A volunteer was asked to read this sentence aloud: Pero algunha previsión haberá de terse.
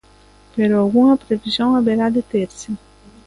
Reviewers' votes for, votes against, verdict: 2, 0, accepted